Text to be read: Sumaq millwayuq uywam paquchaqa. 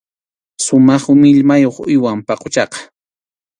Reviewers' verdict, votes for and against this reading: accepted, 2, 0